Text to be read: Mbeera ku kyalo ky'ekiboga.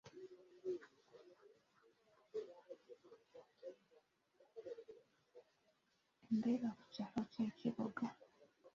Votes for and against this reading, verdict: 0, 2, rejected